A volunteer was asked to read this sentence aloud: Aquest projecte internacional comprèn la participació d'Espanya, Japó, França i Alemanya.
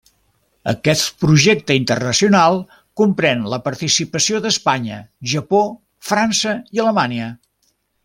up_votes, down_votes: 3, 0